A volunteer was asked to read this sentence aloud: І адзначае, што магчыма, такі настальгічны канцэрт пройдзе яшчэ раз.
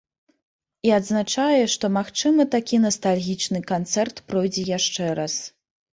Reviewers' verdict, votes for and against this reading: accepted, 2, 0